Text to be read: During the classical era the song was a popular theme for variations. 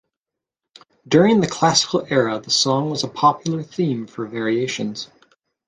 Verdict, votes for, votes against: accepted, 2, 0